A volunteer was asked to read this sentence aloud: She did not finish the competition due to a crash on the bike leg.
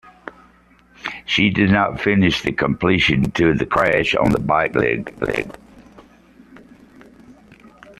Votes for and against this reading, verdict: 2, 0, accepted